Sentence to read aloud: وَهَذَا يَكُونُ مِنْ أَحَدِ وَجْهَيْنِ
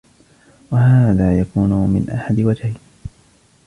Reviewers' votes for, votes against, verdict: 0, 2, rejected